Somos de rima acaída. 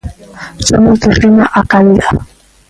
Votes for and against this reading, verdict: 1, 2, rejected